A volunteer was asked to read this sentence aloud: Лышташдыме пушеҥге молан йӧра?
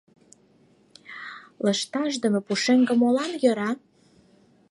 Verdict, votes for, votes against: accepted, 4, 0